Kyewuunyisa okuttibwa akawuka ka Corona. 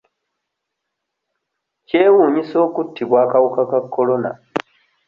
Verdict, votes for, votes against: accepted, 2, 0